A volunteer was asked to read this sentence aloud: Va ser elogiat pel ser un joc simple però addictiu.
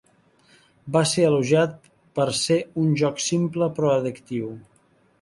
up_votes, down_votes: 0, 3